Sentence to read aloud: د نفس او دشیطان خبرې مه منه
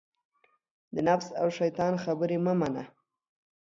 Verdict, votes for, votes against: accepted, 4, 0